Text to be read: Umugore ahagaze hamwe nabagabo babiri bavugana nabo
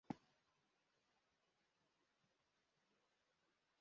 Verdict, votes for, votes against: rejected, 0, 2